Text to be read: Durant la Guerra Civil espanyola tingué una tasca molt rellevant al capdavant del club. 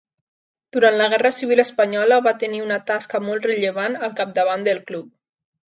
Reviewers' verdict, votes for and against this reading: rejected, 0, 2